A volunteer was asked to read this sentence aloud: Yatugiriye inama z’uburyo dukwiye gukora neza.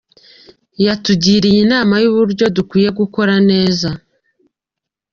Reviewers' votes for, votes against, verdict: 2, 0, accepted